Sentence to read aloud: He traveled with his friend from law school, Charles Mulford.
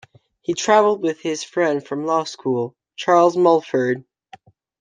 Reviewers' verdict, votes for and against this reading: accepted, 2, 0